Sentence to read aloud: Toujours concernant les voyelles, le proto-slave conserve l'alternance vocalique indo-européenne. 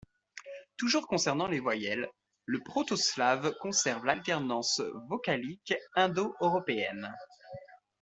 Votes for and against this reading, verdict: 2, 0, accepted